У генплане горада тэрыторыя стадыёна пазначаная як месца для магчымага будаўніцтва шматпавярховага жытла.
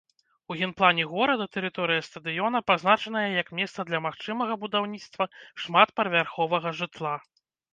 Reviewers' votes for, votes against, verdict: 1, 2, rejected